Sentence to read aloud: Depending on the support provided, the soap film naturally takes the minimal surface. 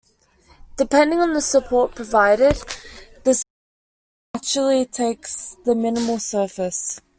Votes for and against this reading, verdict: 0, 2, rejected